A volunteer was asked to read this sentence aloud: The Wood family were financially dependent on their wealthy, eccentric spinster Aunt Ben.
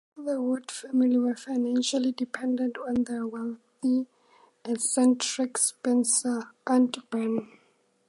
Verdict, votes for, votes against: accepted, 4, 0